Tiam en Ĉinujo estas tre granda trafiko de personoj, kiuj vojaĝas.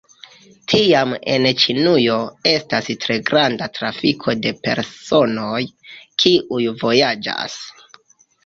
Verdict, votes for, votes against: accepted, 2, 1